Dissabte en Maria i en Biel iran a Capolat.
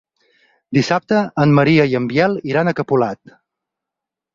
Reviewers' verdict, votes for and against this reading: accepted, 4, 0